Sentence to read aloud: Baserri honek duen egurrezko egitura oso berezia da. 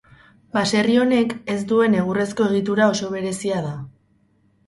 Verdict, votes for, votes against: rejected, 2, 6